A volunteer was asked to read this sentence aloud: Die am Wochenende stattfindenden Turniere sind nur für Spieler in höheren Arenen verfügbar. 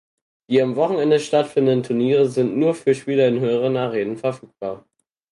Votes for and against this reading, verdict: 4, 0, accepted